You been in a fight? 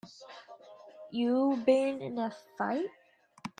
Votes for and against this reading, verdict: 2, 0, accepted